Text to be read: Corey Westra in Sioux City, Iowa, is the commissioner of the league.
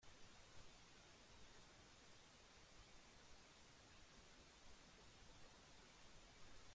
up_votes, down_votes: 0, 3